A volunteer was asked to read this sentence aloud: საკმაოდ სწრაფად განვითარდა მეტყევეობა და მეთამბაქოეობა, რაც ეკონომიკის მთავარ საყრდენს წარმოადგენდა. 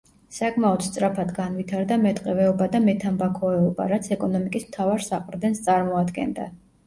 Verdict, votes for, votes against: accepted, 2, 0